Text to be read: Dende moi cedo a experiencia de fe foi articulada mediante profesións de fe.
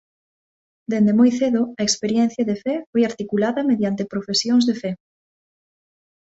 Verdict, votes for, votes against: accepted, 2, 0